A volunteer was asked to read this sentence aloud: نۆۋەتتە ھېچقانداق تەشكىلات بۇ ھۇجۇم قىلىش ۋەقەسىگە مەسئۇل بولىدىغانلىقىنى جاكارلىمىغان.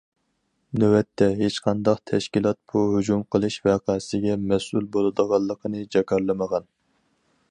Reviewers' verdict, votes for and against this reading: accepted, 4, 0